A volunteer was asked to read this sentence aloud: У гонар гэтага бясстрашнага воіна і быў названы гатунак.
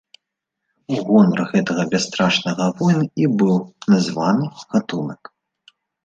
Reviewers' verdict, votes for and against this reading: rejected, 1, 2